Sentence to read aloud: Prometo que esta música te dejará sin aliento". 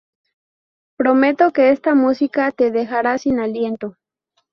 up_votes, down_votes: 2, 2